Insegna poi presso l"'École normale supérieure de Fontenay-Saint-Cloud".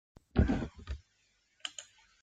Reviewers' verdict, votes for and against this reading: rejected, 0, 2